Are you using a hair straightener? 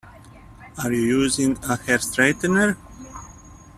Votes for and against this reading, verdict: 0, 2, rejected